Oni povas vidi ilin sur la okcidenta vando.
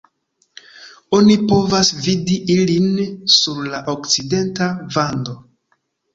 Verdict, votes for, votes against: accepted, 2, 0